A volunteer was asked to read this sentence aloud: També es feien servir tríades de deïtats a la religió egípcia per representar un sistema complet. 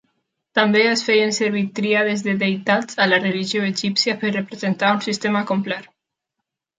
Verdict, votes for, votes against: accepted, 2, 0